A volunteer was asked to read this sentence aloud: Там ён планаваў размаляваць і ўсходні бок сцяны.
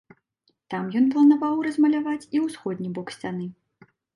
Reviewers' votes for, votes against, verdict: 2, 0, accepted